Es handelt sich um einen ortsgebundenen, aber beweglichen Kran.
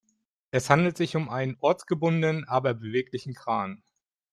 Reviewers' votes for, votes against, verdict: 2, 0, accepted